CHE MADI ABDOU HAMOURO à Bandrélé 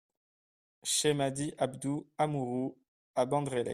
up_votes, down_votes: 2, 1